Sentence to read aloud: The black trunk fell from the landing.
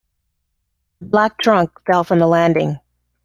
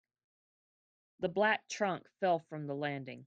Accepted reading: second